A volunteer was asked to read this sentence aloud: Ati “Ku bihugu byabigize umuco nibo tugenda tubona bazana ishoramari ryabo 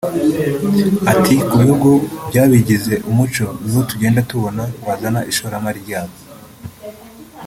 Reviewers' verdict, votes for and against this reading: rejected, 0, 2